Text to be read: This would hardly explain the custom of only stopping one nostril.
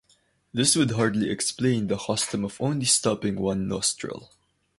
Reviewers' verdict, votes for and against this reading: rejected, 2, 2